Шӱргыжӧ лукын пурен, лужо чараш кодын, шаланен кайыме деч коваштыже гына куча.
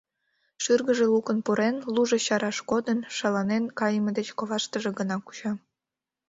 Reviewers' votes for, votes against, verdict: 2, 0, accepted